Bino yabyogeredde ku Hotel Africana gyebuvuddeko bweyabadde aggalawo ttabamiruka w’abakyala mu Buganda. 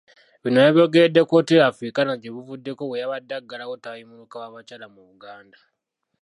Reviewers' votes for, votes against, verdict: 0, 2, rejected